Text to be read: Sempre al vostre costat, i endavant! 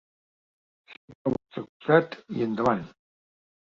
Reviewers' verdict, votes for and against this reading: rejected, 0, 2